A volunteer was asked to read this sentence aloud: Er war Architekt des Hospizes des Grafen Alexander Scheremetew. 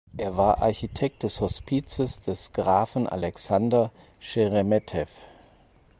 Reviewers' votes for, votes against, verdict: 4, 0, accepted